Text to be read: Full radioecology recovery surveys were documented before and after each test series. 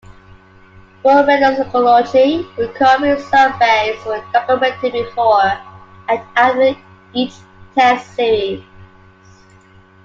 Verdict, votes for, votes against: rejected, 0, 2